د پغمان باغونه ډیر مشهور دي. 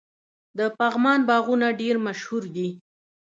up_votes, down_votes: 0, 2